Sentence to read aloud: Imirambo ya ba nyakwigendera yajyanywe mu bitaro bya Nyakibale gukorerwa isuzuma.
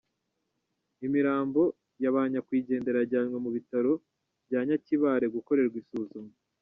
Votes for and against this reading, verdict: 0, 2, rejected